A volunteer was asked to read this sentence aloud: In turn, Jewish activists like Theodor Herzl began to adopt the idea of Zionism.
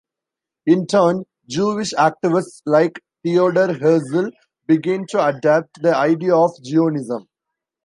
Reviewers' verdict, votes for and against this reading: accepted, 2, 0